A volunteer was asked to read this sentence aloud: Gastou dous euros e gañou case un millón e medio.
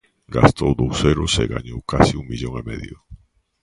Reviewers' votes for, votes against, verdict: 2, 1, accepted